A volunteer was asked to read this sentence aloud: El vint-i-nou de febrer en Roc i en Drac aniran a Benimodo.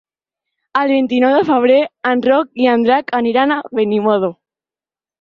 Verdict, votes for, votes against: accepted, 4, 0